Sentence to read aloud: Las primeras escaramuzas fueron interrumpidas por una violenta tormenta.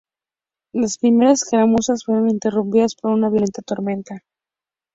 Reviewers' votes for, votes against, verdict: 2, 0, accepted